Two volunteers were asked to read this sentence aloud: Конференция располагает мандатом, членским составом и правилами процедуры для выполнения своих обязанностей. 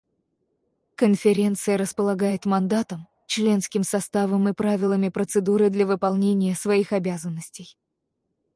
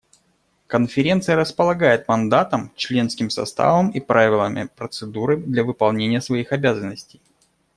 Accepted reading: second